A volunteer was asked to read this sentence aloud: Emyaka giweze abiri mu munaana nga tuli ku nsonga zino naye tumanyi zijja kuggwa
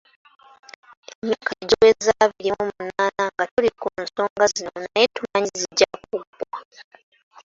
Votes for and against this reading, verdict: 2, 1, accepted